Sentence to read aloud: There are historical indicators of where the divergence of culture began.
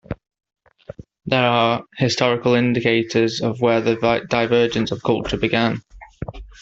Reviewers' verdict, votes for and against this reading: accepted, 2, 0